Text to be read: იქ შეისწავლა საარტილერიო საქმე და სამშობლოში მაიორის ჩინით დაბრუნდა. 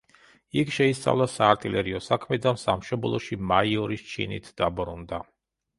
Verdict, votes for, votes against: accepted, 2, 0